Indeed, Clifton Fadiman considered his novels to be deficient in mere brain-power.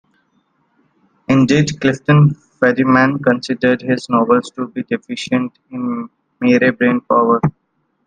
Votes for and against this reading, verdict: 2, 0, accepted